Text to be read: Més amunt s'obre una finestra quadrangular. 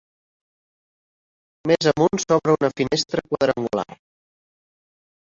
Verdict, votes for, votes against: accepted, 3, 1